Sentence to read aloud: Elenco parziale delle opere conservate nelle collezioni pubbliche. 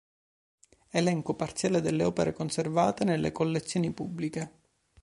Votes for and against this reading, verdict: 2, 0, accepted